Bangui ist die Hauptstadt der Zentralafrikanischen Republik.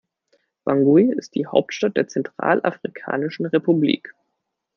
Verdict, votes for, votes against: accepted, 2, 0